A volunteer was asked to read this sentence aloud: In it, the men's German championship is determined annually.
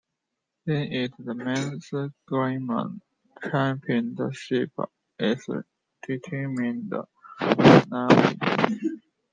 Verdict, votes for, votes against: rejected, 0, 2